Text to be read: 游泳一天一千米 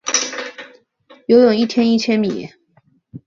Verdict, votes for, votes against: accepted, 3, 0